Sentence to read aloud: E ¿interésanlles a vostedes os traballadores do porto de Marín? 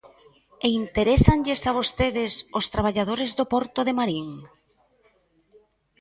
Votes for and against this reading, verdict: 3, 0, accepted